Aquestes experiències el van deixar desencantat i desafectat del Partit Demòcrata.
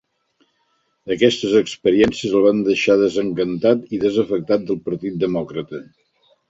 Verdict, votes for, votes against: accepted, 8, 0